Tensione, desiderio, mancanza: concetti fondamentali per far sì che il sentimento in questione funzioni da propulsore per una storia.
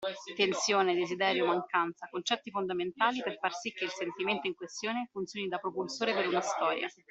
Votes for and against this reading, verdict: 2, 0, accepted